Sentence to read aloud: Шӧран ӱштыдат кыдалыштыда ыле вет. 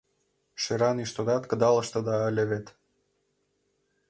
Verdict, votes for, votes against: accepted, 3, 0